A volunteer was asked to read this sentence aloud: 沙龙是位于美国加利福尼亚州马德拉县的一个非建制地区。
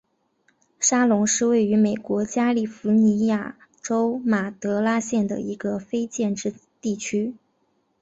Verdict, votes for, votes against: accepted, 3, 1